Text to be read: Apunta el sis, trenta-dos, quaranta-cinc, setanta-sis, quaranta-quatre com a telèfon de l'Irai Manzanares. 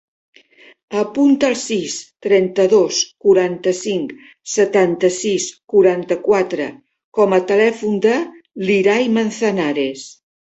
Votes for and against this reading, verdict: 3, 0, accepted